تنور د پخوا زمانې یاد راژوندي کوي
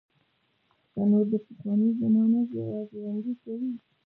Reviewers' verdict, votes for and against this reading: rejected, 0, 2